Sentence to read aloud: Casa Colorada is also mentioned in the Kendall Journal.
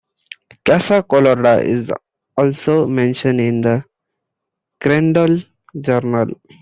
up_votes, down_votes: 1, 2